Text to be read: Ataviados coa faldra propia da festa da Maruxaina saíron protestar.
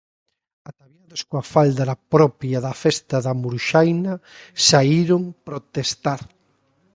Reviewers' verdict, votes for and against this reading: rejected, 1, 2